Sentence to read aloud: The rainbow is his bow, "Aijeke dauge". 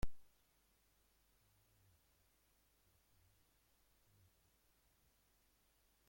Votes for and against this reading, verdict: 1, 2, rejected